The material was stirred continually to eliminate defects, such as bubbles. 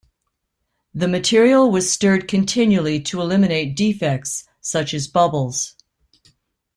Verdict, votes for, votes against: accepted, 2, 0